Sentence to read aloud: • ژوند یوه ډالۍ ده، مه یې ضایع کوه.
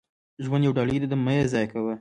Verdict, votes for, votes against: rejected, 0, 2